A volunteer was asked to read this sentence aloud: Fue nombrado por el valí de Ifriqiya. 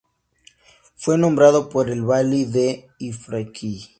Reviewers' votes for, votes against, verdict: 0, 2, rejected